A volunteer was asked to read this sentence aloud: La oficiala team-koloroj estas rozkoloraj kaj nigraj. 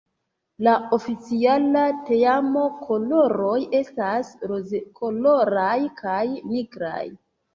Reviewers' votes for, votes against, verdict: 1, 2, rejected